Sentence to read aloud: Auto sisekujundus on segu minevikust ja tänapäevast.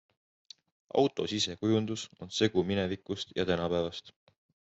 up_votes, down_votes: 2, 0